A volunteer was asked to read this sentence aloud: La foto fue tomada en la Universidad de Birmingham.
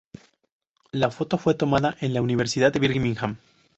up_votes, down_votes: 2, 0